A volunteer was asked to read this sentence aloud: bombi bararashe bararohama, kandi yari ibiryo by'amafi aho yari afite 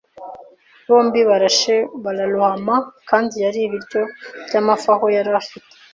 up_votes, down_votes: 1, 2